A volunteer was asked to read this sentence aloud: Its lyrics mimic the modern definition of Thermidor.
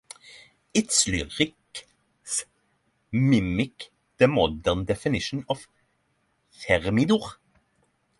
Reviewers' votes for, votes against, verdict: 0, 3, rejected